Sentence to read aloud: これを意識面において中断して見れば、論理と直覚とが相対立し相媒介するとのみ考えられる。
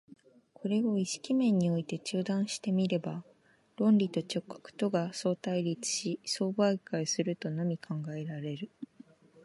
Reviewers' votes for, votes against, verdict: 2, 0, accepted